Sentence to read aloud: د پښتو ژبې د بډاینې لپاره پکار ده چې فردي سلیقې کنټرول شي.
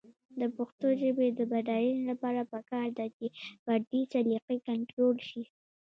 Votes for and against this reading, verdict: 1, 2, rejected